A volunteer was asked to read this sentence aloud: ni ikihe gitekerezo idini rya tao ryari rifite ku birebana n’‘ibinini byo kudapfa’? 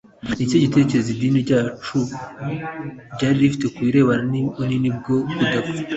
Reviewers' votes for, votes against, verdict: 2, 0, accepted